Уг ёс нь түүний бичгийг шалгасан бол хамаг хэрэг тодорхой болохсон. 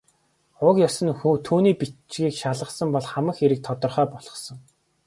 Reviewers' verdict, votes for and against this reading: accepted, 2, 0